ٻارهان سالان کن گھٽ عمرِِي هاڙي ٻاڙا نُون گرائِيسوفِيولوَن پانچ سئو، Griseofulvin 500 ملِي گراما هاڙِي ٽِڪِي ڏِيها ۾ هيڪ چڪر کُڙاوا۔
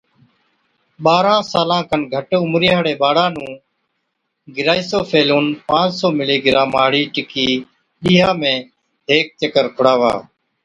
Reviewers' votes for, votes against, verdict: 0, 2, rejected